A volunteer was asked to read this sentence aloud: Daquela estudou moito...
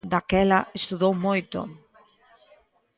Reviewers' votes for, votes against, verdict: 1, 2, rejected